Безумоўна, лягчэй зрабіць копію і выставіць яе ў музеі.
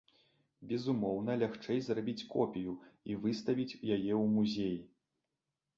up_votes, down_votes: 2, 0